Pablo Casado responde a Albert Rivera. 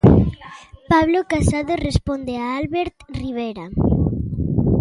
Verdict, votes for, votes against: rejected, 1, 2